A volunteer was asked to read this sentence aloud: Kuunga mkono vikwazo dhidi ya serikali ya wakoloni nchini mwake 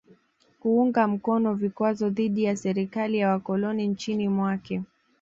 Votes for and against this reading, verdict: 2, 0, accepted